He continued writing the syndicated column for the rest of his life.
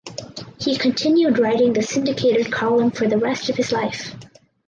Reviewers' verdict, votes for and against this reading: accepted, 4, 0